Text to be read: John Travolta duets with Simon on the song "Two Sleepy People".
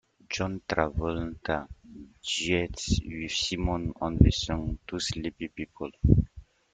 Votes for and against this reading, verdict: 0, 2, rejected